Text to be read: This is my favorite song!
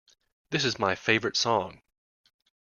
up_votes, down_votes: 2, 0